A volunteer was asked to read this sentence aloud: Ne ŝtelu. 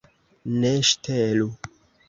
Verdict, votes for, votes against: accepted, 2, 0